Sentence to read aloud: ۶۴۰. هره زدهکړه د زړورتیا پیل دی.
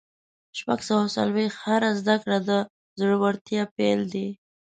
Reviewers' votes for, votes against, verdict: 0, 2, rejected